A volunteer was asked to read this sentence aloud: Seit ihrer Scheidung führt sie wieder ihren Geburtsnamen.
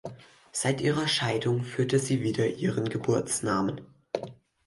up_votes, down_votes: 2, 4